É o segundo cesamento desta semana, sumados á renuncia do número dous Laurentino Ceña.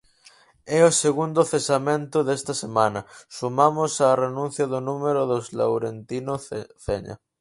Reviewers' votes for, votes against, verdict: 0, 4, rejected